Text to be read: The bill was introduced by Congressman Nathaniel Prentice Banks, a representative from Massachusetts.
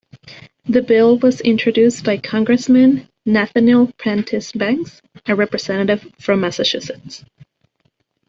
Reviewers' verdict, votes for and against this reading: rejected, 0, 2